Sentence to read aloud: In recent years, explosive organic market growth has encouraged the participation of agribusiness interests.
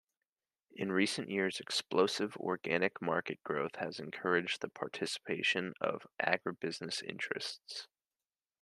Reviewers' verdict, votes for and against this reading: rejected, 1, 2